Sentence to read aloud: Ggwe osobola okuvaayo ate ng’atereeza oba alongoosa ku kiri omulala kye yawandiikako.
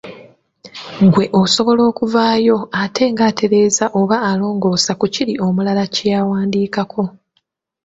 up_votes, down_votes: 0, 2